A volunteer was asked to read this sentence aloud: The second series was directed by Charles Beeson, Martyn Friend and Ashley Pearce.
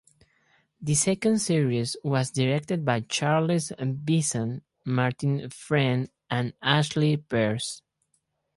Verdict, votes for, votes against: rejected, 0, 2